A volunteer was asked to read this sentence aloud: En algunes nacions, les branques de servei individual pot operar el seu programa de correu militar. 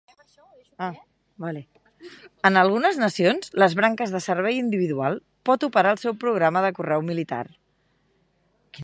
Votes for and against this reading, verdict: 0, 2, rejected